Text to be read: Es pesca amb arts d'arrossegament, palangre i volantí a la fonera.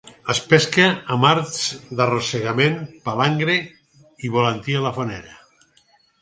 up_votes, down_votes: 4, 0